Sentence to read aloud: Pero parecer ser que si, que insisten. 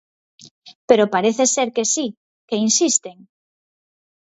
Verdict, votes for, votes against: rejected, 2, 4